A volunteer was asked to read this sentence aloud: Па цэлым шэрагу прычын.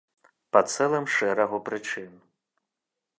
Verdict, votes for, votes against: accepted, 2, 0